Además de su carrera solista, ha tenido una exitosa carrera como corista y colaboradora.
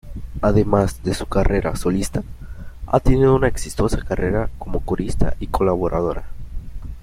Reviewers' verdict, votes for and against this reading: accepted, 2, 0